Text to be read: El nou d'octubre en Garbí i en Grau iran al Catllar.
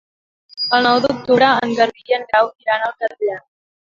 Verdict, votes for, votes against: rejected, 0, 2